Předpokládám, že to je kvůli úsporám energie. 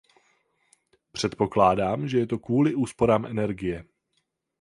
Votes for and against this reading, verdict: 4, 4, rejected